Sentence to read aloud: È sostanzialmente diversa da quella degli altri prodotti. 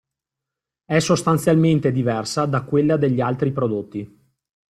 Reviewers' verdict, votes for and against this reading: accepted, 2, 0